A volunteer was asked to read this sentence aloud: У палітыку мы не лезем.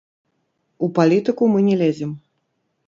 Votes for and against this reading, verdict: 0, 2, rejected